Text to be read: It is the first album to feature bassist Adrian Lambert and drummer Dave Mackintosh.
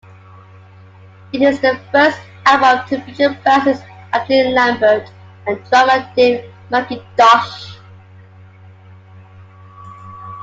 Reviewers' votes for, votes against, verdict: 1, 2, rejected